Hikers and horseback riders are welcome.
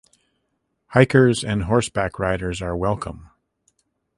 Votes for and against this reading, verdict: 2, 0, accepted